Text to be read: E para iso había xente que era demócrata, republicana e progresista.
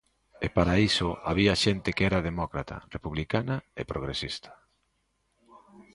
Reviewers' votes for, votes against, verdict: 2, 0, accepted